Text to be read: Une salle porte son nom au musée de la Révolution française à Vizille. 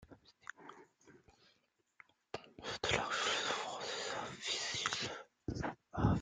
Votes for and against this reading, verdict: 0, 2, rejected